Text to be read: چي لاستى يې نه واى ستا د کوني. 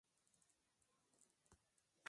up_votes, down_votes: 0, 4